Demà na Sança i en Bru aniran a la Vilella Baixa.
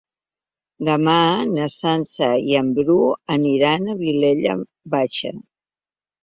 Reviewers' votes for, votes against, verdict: 0, 3, rejected